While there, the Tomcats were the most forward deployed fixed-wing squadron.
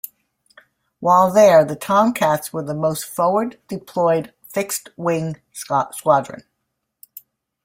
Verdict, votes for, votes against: rejected, 1, 2